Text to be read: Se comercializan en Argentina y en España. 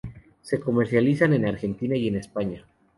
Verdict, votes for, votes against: accepted, 2, 0